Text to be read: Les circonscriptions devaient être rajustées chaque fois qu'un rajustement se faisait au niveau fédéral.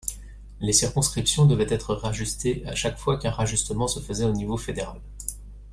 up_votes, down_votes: 0, 2